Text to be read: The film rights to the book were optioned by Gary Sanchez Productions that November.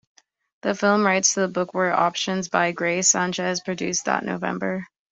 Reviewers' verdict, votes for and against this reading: rejected, 0, 2